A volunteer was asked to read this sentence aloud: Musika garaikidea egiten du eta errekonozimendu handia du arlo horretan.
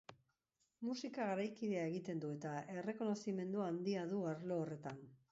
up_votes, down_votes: 0, 2